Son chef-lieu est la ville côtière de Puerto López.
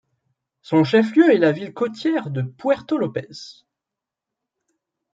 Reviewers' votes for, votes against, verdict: 3, 0, accepted